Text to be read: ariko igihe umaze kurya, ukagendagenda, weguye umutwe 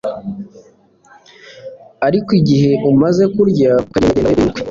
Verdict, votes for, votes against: rejected, 1, 2